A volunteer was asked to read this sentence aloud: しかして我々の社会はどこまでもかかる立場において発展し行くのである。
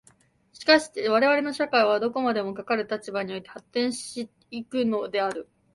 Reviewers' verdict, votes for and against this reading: accepted, 2, 0